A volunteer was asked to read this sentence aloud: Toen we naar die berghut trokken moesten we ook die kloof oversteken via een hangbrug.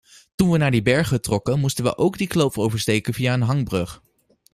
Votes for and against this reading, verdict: 2, 0, accepted